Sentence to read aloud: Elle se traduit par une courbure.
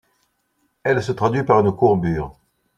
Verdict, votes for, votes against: accepted, 2, 0